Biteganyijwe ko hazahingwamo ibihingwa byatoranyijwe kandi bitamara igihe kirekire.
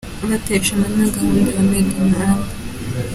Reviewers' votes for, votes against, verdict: 1, 2, rejected